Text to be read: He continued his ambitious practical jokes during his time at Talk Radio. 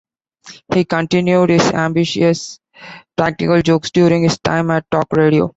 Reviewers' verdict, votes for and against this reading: accepted, 2, 0